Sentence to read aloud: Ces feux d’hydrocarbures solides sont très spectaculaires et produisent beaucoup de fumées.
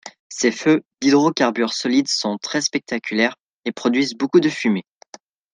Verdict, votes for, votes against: accepted, 2, 0